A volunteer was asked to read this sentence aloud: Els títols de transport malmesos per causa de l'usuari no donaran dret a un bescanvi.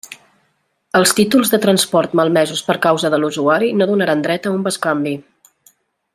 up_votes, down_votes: 2, 0